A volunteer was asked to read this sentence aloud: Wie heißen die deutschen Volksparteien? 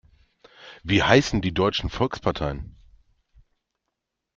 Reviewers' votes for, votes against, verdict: 2, 0, accepted